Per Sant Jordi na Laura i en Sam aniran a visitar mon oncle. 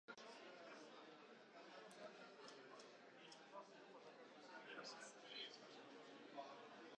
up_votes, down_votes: 0, 4